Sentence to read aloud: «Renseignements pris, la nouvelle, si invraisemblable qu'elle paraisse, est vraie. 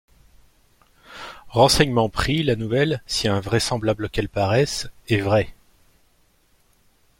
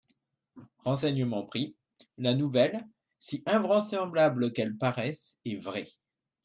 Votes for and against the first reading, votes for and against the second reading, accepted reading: 2, 0, 0, 2, first